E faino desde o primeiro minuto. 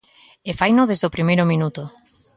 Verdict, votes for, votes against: accepted, 3, 0